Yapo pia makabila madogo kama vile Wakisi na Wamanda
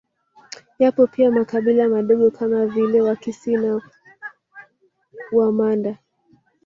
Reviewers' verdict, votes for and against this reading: rejected, 0, 2